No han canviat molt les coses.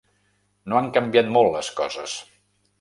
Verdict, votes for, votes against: accepted, 3, 0